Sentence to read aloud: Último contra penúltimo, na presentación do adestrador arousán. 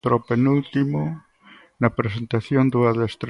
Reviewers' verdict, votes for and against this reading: rejected, 0, 6